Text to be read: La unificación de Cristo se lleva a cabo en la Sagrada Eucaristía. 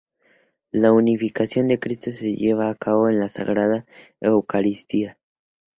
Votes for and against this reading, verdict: 4, 0, accepted